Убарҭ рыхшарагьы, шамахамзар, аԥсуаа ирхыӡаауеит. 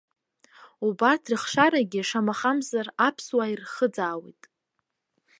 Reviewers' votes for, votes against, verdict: 2, 0, accepted